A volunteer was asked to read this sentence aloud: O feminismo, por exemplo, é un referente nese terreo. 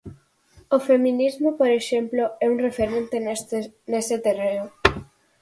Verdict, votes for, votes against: rejected, 0, 4